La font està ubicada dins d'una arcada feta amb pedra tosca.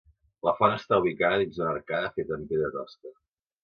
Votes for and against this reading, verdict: 0, 2, rejected